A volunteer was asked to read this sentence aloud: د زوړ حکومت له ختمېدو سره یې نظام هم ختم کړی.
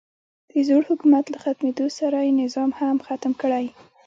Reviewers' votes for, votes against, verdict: 2, 0, accepted